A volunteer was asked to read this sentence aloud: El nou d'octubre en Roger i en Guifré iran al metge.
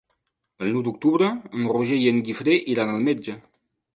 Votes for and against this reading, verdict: 2, 1, accepted